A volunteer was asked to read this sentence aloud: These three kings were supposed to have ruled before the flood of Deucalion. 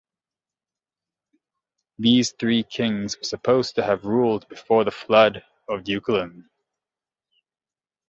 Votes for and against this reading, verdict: 1, 2, rejected